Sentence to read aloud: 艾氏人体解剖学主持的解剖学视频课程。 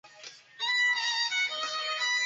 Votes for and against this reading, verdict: 0, 3, rejected